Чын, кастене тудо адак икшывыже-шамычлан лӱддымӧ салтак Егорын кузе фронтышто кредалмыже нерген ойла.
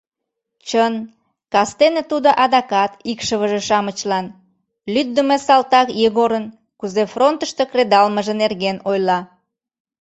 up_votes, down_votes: 1, 2